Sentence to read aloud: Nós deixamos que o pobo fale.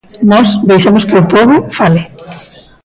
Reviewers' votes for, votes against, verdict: 2, 0, accepted